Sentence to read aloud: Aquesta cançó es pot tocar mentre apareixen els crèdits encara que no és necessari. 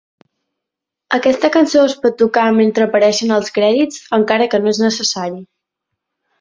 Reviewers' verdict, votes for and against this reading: accepted, 2, 0